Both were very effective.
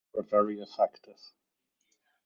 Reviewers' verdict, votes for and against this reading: rejected, 0, 4